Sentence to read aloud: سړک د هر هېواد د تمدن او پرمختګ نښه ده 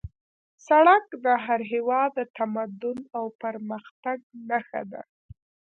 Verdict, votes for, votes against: rejected, 0, 3